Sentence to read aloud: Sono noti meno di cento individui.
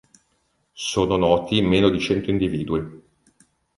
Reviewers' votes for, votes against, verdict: 2, 0, accepted